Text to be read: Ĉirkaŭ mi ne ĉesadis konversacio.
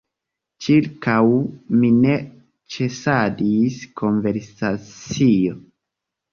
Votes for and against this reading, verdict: 1, 2, rejected